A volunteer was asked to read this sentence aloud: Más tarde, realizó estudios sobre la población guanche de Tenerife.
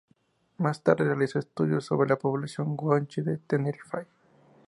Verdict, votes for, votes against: accepted, 2, 0